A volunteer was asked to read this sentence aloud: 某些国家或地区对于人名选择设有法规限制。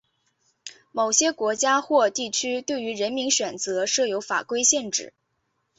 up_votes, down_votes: 4, 1